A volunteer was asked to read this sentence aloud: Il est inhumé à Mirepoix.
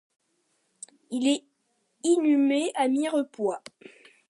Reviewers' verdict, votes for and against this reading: accepted, 2, 0